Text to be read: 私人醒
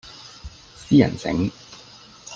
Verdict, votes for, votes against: accepted, 2, 0